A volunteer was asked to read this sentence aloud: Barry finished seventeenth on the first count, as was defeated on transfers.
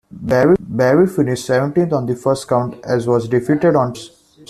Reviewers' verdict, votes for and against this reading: rejected, 0, 2